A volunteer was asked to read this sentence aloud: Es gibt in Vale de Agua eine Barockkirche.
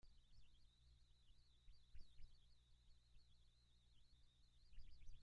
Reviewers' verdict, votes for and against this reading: rejected, 1, 2